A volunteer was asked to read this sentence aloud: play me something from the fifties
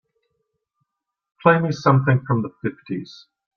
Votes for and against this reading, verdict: 2, 0, accepted